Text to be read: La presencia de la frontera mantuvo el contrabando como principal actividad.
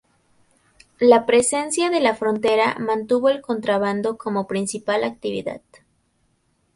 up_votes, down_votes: 2, 2